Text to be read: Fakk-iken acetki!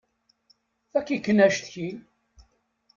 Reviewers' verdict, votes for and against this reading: accepted, 2, 0